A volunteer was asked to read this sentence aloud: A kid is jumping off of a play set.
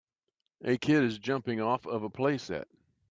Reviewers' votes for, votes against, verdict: 3, 0, accepted